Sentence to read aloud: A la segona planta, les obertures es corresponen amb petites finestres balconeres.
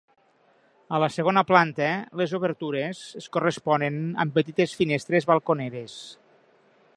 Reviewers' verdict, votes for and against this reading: accepted, 4, 0